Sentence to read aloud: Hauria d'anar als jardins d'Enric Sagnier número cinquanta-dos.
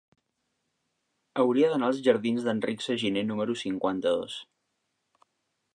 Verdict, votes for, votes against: rejected, 0, 2